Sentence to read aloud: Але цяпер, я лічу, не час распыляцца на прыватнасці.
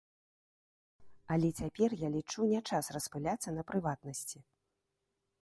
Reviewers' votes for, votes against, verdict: 0, 2, rejected